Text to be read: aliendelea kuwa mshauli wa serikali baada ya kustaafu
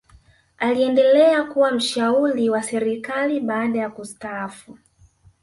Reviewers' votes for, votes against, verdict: 1, 2, rejected